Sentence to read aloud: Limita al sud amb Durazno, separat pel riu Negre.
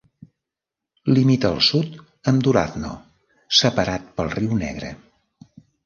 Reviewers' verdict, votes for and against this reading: accepted, 2, 1